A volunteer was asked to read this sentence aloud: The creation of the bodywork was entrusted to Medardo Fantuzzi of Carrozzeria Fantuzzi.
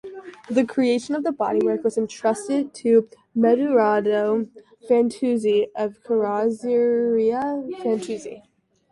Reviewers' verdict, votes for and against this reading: rejected, 0, 2